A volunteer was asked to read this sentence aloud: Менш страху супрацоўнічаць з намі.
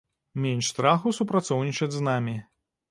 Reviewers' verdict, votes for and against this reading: accepted, 2, 0